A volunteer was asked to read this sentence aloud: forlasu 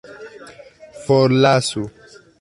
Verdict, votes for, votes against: accepted, 2, 0